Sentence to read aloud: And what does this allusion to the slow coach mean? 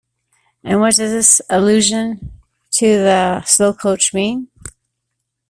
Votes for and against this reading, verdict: 2, 1, accepted